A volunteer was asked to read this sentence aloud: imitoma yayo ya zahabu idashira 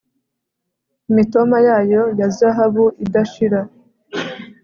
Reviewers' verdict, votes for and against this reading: accepted, 2, 0